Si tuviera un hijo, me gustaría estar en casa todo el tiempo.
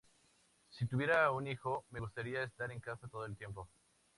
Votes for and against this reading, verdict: 8, 2, accepted